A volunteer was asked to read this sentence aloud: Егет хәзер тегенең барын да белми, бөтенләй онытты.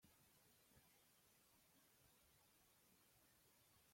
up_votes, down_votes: 0, 2